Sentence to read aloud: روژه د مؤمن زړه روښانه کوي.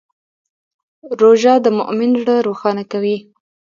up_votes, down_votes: 2, 0